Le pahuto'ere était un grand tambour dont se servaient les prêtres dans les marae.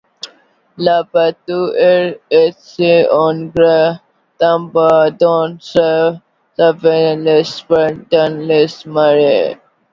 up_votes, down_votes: 0, 2